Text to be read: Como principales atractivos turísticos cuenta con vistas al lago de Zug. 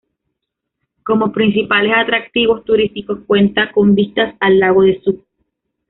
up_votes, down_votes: 2, 0